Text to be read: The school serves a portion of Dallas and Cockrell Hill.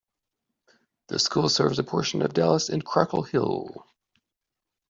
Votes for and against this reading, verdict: 0, 2, rejected